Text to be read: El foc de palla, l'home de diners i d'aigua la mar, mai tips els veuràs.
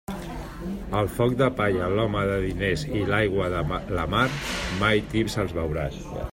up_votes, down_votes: 0, 2